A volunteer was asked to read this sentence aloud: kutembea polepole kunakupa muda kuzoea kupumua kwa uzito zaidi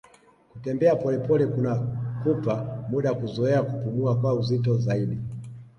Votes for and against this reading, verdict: 2, 0, accepted